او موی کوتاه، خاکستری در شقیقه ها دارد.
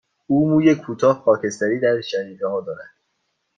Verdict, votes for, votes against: accepted, 2, 0